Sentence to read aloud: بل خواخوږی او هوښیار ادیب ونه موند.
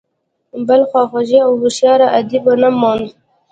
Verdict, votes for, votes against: rejected, 1, 2